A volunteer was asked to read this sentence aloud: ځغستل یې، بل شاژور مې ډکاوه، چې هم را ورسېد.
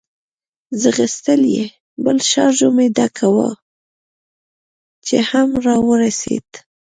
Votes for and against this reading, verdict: 1, 2, rejected